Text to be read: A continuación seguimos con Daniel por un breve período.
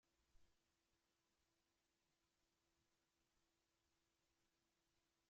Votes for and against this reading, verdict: 0, 2, rejected